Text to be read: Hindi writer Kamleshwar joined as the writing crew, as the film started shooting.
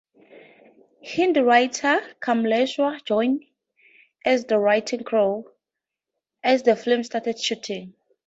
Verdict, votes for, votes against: accepted, 2, 0